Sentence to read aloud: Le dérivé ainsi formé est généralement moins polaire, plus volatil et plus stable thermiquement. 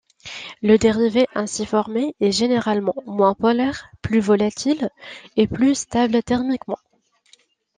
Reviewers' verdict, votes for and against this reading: accepted, 2, 0